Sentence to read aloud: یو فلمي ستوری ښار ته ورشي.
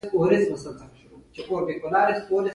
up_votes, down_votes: 2, 1